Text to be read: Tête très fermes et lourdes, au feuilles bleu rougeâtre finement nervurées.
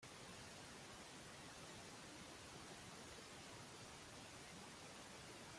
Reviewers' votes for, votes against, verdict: 0, 2, rejected